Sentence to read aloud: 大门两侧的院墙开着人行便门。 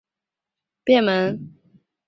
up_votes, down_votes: 0, 2